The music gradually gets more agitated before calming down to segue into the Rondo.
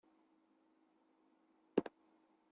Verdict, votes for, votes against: rejected, 0, 2